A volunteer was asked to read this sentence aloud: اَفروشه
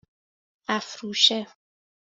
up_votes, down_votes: 2, 0